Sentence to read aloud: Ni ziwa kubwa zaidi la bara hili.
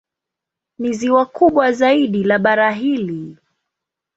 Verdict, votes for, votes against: accepted, 2, 0